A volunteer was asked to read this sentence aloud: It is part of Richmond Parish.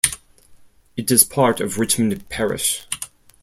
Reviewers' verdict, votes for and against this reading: accepted, 4, 0